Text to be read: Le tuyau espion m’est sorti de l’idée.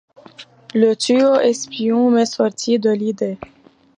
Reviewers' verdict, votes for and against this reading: accepted, 2, 0